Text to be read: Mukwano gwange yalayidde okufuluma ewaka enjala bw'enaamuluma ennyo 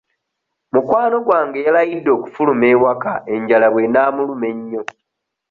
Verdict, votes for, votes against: accepted, 2, 0